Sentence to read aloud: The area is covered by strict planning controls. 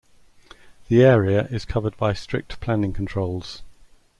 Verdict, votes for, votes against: accepted, 2, 0